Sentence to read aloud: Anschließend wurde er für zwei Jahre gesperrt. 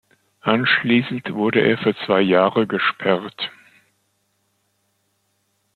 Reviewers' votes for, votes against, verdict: 2, 0, accepted